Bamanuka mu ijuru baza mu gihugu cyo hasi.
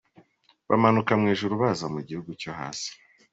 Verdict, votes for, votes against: accepted, 2, 0